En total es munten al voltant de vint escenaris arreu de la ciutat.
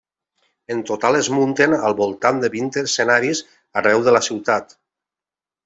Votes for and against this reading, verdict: 3, 0, accepted